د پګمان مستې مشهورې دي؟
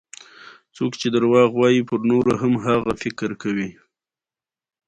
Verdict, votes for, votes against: accepted, 2, 1